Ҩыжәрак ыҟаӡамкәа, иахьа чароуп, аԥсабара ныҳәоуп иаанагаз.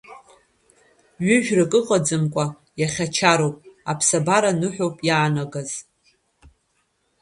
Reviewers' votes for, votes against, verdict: 2, 1, accepted